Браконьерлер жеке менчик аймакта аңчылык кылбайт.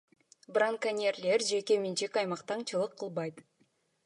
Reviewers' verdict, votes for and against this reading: accepted, 2, 0